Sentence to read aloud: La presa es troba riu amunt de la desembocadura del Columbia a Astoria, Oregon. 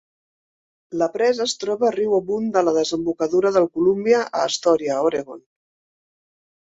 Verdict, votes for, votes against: accepted, 2, 0